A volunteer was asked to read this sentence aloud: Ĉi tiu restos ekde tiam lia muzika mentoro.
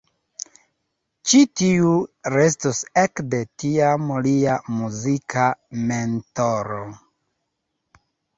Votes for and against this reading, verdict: 3, 0, accepted